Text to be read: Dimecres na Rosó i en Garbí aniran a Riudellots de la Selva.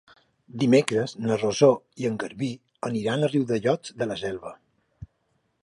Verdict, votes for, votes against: accepted, 4, 0